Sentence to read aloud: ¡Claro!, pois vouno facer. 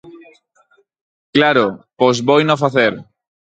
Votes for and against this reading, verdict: 0, 4, rejected